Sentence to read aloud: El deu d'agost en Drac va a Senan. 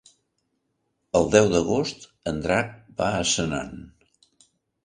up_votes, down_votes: 3, 0